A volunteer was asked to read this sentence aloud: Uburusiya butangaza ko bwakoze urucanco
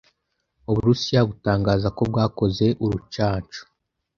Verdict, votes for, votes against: accepted, 2, 0